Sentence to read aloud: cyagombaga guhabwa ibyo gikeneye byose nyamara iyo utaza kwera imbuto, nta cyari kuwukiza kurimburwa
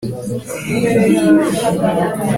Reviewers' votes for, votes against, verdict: 0, 2, rejected